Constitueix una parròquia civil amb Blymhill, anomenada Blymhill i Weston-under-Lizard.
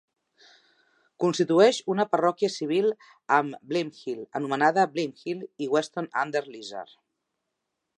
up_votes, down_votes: 2, 0